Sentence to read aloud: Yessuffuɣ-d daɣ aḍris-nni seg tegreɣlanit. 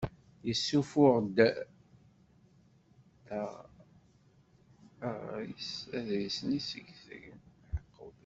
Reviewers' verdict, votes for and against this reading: rejected, 1, 2